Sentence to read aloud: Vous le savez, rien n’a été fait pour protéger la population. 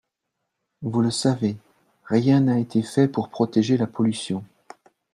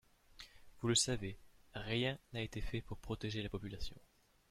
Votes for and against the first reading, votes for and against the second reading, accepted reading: 1, 2, 2, 0, second